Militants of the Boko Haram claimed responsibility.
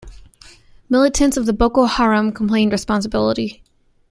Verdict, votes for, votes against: rejected, 1, 2